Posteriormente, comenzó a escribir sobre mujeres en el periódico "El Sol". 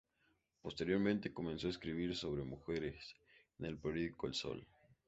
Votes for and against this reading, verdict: 2, 0, accepted